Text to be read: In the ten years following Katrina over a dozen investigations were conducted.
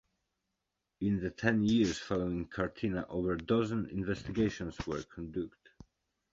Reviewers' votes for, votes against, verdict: 2, 1, accepted